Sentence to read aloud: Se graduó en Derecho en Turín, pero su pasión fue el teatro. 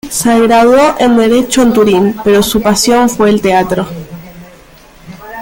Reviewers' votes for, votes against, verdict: 3, 1, accepted